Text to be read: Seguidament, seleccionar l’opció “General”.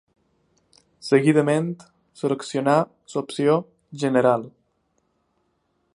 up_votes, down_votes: 4, 5